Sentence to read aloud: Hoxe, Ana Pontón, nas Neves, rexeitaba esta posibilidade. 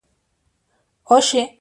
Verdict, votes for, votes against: rejected, 0, 2